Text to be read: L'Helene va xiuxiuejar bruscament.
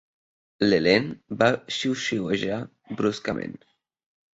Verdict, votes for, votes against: accepted, 2, 0